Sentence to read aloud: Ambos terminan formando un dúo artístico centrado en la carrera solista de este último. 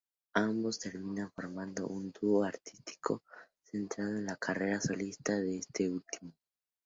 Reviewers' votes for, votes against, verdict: 2, 0, accepted